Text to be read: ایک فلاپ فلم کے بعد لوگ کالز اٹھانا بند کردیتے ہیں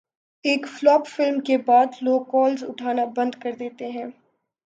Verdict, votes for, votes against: accepted, 5, 0